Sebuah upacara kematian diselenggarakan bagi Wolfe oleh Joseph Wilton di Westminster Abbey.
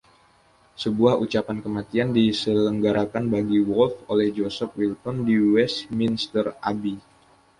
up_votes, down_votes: 0, 2